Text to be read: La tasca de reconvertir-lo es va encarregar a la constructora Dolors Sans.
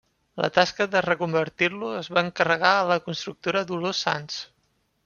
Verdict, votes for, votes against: accepted, 2, 1